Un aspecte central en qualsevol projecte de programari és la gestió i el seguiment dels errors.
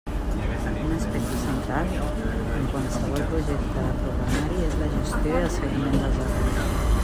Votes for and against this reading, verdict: 1, 2, rejected